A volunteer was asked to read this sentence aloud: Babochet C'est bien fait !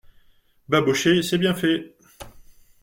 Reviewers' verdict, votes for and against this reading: rejected, 0, 2